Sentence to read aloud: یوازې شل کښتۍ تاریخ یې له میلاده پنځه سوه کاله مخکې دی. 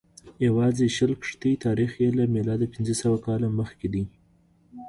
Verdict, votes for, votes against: accepted, 2, 0